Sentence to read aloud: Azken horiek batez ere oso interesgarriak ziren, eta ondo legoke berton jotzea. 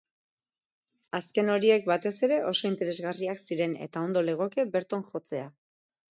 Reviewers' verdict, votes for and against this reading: accepted, 4, 0